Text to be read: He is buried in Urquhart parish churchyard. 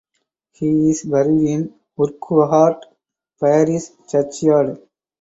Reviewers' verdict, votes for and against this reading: accepted, 4, 2